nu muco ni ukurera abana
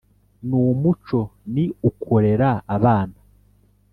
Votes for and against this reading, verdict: 2, 0, accepted